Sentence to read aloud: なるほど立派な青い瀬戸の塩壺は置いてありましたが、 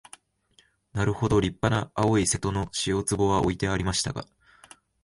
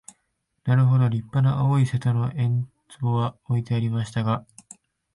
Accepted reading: first